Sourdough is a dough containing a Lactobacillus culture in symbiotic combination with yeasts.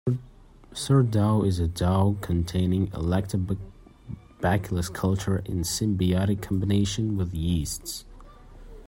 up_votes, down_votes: 0, 2